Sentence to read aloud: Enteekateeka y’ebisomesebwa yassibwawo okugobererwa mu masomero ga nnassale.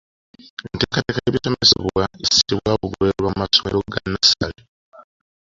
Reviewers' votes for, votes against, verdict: 1, 2, rejected